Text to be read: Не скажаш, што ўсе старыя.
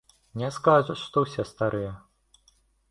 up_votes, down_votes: 0, 2